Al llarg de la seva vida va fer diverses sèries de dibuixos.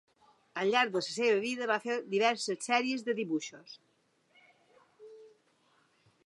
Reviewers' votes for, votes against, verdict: 4, 0, accepted